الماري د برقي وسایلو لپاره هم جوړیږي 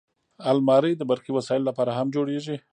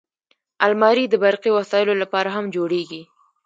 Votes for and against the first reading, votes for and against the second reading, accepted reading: 1, 2, 2, 0, second